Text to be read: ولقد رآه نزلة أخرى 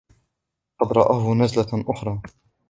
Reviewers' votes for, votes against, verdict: 0, 2, rejected